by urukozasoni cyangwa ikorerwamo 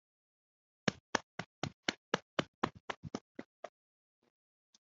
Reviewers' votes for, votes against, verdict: 0, 2, rejected